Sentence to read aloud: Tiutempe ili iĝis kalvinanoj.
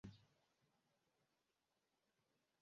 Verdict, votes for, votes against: rejected, 1, 2